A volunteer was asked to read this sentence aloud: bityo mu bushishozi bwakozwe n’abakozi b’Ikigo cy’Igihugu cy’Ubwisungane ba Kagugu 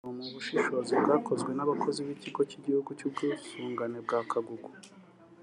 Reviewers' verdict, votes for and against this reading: accepted, 2, 0